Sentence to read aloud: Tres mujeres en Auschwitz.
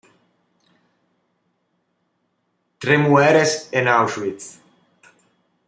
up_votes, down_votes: 1, 2